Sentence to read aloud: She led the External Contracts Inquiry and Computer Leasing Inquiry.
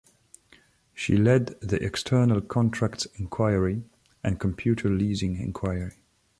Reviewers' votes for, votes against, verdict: 2, 0, accepted